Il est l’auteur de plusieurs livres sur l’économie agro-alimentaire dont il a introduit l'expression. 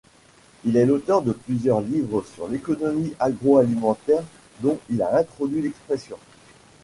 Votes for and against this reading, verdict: 2, 0, accepted